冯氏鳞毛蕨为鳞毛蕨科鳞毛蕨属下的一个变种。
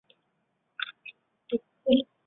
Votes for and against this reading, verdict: 0, 2, rejected